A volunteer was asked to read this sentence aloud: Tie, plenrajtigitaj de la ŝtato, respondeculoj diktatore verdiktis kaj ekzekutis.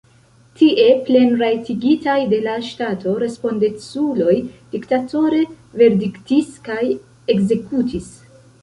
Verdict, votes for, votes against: accepted, 2, 1